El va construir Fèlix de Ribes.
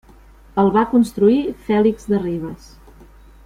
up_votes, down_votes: 3, 0